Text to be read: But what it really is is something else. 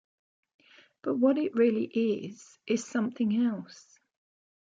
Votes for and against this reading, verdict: 2, 0, accepted